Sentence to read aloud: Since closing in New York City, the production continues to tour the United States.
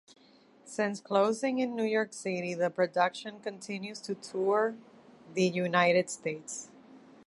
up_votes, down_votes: 2, 1